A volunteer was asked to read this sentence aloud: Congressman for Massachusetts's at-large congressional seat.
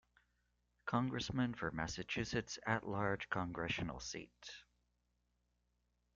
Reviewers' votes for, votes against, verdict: 2, 0, accepted